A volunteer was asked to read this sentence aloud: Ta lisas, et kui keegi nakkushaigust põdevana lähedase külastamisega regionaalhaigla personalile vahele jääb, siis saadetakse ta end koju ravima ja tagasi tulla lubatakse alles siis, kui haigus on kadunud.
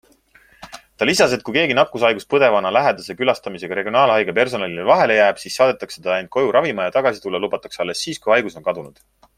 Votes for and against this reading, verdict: 2, 0, accepted